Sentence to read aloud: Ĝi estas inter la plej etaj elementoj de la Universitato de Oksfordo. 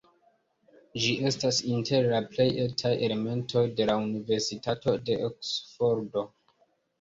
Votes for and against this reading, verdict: 0, 2, rejected